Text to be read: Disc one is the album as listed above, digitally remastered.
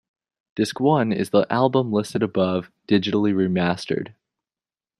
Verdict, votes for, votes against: rejected, 0, 2